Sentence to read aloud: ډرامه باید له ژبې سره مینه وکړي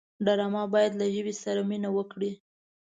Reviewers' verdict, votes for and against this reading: accepted, 2, 0